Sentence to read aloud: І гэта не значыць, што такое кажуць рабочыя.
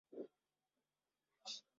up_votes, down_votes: 0, 3